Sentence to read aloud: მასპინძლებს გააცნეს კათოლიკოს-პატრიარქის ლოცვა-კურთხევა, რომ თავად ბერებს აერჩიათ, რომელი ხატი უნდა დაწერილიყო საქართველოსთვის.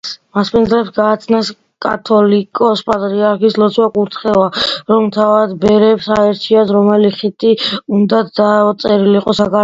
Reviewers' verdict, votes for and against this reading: rejected, 0, 2